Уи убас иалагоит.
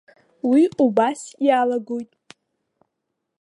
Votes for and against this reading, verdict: 2, 0, accepted